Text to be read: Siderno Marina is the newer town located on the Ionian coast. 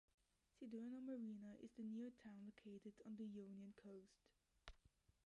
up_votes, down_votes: 0, 2